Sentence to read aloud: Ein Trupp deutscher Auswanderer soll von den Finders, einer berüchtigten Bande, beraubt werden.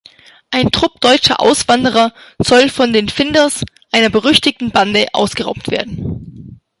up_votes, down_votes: 0, 2